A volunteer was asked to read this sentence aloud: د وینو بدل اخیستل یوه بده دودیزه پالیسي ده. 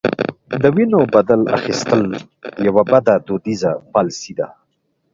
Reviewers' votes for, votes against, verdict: 2, 1, accepted